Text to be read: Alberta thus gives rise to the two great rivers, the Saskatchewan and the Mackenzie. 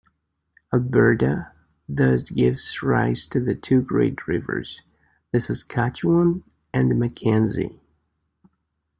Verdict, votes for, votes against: accepted, 2, 1